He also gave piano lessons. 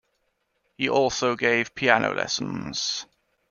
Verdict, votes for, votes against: accepted, 2, 0